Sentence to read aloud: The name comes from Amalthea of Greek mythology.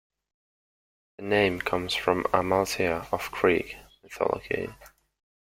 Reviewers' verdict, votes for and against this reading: rejected, 0, 2